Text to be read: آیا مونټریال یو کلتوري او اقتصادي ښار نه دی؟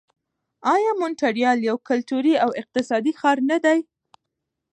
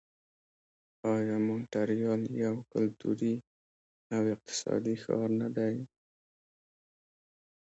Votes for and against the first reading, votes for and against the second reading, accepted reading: 2, 0, 0, 2, first